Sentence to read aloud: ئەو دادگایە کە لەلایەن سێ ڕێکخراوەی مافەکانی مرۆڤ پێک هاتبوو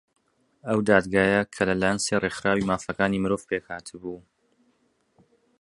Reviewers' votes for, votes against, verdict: 2, 1, accepted